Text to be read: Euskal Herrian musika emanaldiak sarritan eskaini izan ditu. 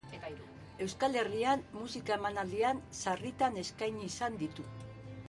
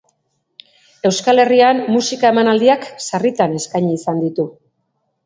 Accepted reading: second